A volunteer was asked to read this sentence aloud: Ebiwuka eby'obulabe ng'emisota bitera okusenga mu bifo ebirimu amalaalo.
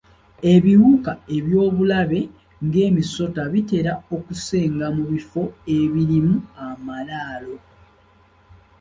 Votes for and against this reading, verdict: 2, 0, accepted